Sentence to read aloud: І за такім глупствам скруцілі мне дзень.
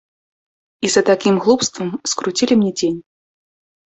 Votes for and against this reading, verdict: 2, 0, accepted